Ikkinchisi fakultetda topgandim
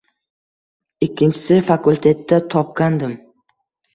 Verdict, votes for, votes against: accepted, 2, 0